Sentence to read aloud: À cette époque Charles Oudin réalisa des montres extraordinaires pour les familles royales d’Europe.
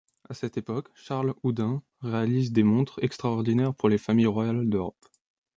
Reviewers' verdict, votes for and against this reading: rejected, 0, 2